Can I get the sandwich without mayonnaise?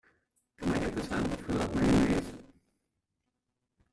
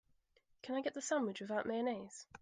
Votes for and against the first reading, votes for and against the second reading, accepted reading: 0, 2, 2, 0, second